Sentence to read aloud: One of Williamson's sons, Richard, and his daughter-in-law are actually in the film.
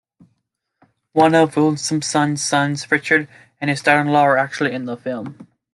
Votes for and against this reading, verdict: 1, 2, rejected